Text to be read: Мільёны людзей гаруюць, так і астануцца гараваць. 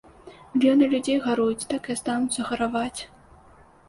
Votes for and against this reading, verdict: 1, 2, rejected